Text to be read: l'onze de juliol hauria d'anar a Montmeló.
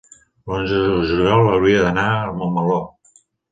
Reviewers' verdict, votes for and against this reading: rejected, 1, 2